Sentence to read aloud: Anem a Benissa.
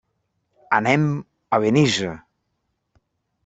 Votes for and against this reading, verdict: 1, 2, rejected